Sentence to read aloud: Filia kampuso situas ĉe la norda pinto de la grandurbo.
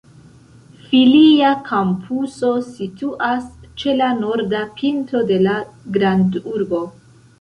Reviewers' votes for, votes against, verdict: 2, 0, accepted